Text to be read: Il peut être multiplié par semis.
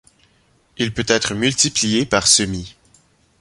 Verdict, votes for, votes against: accepted, 2, 0